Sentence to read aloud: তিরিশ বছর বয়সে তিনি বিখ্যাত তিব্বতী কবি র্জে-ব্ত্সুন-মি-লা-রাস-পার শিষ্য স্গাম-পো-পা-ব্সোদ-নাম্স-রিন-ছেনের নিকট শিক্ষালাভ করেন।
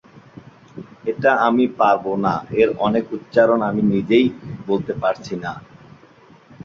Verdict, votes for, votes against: rejected, 0, 4